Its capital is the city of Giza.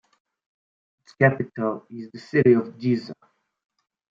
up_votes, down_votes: 2, 1